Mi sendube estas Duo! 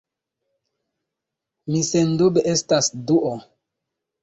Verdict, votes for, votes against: accepted, 2, 1